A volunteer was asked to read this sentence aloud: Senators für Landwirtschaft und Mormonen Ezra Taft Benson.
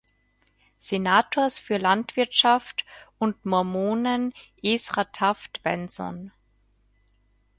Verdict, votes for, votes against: accepted, 4, 0